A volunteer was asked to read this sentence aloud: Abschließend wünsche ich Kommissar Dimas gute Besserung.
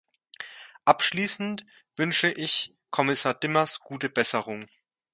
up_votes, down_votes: 2, 0